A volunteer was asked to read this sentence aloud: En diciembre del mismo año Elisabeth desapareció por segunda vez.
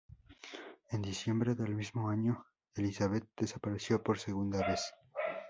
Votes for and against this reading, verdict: 2, 0, accepted